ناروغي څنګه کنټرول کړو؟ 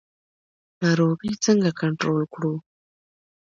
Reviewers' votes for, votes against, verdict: 2, 0, accepted